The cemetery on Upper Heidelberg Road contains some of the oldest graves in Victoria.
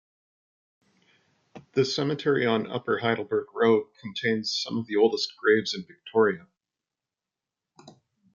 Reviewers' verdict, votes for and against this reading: rejected, 1, 2